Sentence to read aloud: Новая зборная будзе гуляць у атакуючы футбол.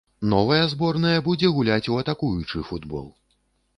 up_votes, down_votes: 2, 0